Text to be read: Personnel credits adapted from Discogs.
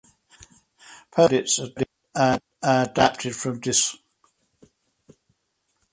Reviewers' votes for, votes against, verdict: 0, 2, rejected